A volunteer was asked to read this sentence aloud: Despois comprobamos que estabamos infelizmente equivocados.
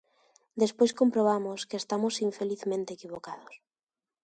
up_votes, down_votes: 0, 2